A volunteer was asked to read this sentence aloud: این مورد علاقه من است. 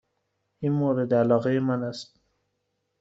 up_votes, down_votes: 2, 0